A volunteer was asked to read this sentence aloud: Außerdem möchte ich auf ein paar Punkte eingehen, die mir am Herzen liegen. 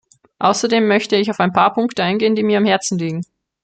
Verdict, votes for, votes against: accepted, 2, 0